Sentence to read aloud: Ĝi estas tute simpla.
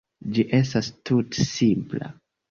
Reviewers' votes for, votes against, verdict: 2, 0, accepted